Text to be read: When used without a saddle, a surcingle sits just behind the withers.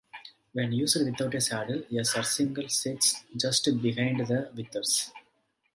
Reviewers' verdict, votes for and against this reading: accepted, 2, 1